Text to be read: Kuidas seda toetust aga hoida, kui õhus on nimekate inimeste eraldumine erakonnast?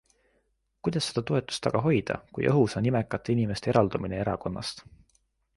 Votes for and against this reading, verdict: 3, 0, accepted